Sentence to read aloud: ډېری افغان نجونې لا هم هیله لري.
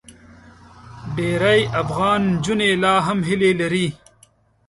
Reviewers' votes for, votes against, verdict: 1, 2, rejected